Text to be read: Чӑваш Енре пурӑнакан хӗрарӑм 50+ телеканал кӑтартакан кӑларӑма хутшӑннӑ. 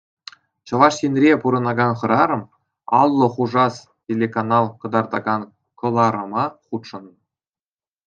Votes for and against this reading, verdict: 0, 2, rejected